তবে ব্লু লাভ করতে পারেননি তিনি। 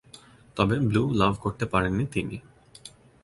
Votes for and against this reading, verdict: 3, 0, accepted